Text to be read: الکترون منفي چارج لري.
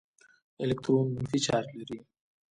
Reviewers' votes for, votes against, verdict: 3, 0, accepted